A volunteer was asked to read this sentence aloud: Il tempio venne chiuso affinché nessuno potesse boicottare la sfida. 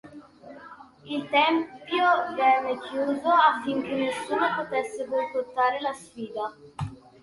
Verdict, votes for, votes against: rejected, 1, 2